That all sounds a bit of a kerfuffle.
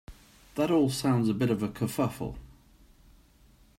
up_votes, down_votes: 2, 0